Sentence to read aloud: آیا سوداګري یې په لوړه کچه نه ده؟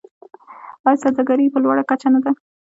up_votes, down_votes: 0, 2